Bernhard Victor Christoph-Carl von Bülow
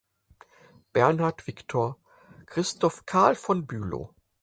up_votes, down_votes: 4, 0